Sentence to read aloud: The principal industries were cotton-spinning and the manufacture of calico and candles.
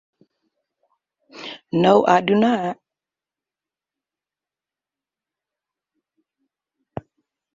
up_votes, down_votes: 0, 2